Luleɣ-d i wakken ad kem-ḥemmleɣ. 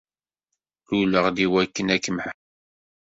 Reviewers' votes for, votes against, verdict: 1, 2, rejected